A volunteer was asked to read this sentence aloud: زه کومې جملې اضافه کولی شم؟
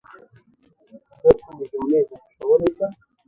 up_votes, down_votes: 0, 3